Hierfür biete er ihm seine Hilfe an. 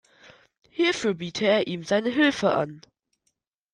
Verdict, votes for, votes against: accepted, 2, 0